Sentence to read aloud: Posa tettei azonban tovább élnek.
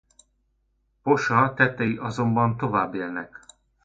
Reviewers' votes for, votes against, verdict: 0, 2, rejected